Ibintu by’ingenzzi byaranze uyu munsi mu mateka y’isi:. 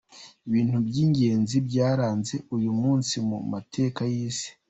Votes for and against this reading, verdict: 2, 0, accepted